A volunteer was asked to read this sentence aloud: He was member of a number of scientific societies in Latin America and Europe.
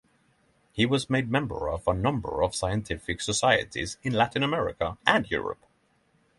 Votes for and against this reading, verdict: 0, 6, rejected